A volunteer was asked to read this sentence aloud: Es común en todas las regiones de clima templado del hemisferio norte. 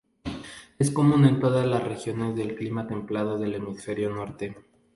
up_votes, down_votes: 0, 2